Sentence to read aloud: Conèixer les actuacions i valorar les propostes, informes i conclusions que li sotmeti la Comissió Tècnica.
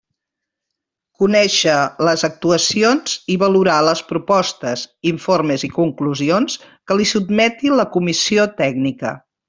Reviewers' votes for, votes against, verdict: 1, 2, rejected